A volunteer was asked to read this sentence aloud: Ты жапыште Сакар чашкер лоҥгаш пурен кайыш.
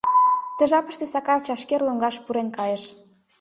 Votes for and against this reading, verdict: 2, 0, accepted